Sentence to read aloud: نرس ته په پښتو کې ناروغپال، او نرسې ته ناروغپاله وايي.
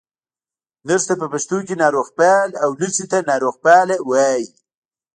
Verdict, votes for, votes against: rejected, 0, 2